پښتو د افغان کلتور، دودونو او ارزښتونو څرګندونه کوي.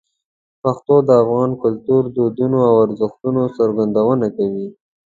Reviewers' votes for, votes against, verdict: 0, 2, rejected